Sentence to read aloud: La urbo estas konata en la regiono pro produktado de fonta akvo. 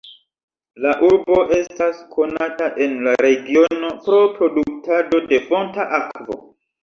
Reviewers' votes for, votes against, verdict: 2, 1, accepted